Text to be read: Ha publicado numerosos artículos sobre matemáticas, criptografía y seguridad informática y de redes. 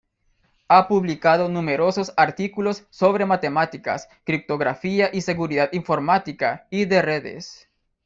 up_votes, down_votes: 2, 0